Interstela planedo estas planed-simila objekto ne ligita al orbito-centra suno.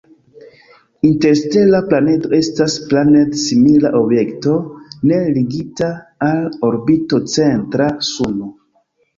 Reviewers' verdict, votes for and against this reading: accepted, 2, 1